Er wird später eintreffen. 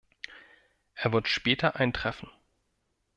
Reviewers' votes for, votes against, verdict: 2, 0, accepted